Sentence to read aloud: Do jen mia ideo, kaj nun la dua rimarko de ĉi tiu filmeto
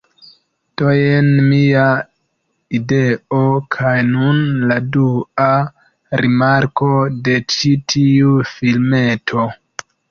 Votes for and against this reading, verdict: 0, 2, rejected